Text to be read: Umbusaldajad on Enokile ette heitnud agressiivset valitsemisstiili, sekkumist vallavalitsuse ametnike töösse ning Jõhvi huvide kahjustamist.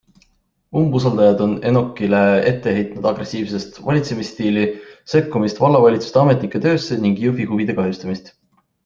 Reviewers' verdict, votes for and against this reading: accepted, 2, 0